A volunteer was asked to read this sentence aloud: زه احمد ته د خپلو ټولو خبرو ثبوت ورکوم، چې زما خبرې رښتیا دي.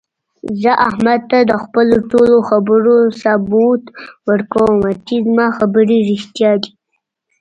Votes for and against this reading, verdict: 2, 0, accepted